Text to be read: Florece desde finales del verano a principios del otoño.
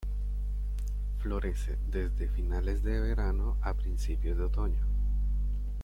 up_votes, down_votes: 1, 2